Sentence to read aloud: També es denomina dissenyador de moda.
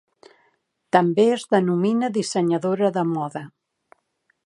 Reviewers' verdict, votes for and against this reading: rejected, 1, 2